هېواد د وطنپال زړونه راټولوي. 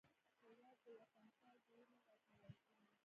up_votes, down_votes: 1, 2